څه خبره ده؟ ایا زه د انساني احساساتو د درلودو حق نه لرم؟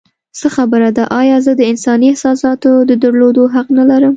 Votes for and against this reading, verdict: 2, 0, accepted